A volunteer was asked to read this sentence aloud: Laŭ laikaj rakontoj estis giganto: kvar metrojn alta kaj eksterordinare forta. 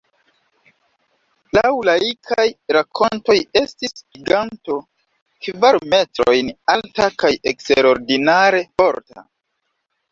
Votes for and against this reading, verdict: 1, 2, rejected